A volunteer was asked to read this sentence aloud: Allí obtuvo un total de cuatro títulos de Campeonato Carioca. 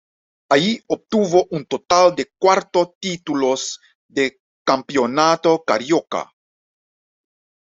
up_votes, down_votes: 1, 2